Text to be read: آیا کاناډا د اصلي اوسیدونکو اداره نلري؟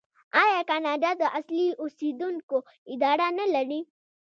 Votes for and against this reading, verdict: 1, 2, rejected